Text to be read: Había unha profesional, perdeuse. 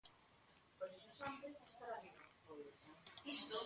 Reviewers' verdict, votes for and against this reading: rejected, 0, 3